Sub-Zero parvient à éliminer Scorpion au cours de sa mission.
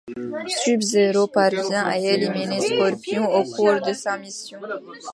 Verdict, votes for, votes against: accepted, 2, 1